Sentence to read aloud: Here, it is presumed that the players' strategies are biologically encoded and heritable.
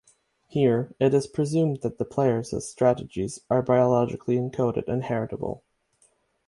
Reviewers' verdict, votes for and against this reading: accepted, 6, 0